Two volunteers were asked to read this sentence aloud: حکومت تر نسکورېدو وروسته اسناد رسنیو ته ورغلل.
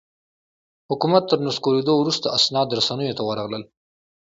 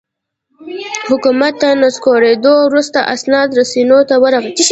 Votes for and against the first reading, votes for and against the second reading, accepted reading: 2, 0, 1, 2, first